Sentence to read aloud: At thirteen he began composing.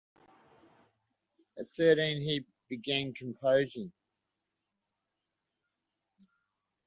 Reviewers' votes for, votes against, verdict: 2, 0, accepted